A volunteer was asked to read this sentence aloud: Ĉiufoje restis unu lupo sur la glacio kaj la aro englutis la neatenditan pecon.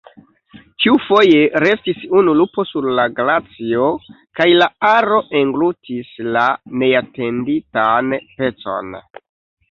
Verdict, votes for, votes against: rejected, 0, 2